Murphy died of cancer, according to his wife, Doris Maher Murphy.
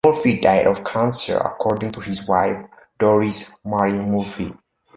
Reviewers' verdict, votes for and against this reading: accepted, 2, 0